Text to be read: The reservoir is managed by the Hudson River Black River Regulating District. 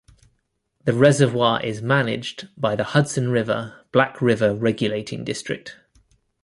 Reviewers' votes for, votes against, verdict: 2, 0, accepted